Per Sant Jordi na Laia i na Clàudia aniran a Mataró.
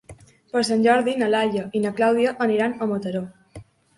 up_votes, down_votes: 3, 0